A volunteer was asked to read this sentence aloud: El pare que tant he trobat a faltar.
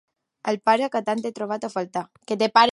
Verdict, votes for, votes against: rejected, 0, 2